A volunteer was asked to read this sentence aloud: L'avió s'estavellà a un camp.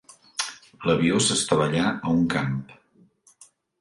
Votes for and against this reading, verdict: 2, 0, accepted